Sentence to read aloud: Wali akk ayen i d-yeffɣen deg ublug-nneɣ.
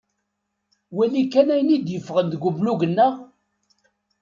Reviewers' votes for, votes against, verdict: 0, 2, rejected